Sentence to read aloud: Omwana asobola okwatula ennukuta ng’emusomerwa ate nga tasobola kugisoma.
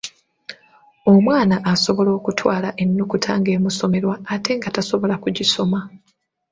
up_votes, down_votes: 0, 2